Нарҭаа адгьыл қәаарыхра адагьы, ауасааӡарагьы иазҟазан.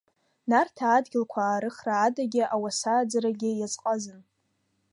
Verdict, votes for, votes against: accepted, 3, 0